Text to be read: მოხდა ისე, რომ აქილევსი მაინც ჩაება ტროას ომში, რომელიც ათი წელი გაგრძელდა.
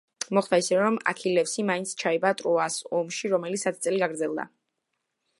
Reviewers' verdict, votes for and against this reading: accepted, 2, 0